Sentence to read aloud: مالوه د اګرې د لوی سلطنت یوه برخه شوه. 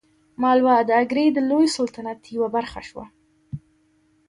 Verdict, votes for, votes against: rejected, 0, 2